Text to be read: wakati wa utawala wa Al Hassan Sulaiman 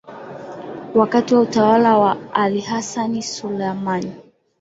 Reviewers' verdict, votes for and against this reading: accepted, 3, 0